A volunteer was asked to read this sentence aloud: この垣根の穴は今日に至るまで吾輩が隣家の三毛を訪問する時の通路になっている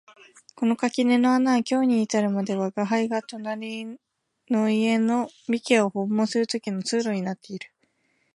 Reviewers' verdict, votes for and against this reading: rejected, 1, 2